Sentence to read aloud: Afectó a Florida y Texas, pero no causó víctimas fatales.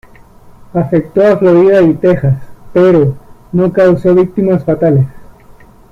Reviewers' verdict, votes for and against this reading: rejected, 1, 2